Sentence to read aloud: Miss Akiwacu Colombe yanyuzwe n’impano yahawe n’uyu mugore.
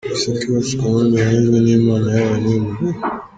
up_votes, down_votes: 0, 2